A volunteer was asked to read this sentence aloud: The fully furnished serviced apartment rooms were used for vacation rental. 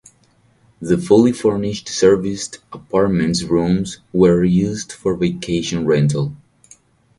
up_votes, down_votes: 4, 2